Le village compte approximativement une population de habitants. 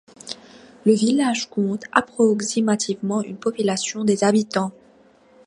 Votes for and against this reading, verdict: 2, 1, accepted